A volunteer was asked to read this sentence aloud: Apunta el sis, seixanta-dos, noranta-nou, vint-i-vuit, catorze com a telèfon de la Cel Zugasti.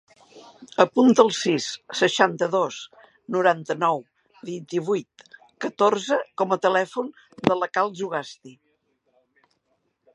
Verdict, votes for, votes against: rejected, 1, 3